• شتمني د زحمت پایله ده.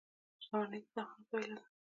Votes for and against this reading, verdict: 2, 1, accepted